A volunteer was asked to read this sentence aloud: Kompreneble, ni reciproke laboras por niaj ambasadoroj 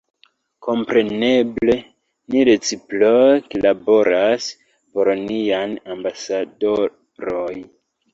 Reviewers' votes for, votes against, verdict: 2, 1, accepted